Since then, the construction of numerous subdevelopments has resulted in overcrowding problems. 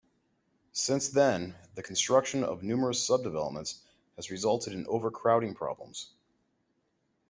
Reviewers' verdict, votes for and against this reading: accepted, 3, 1